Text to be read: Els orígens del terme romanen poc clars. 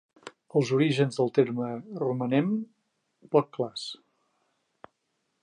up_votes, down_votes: 0, 4